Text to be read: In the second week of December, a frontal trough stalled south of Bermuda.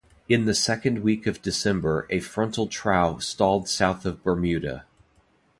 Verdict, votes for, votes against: accepted, 2, 0